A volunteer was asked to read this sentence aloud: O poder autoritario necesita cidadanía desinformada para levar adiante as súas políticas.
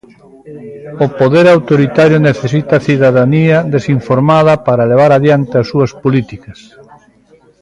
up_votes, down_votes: 1, 2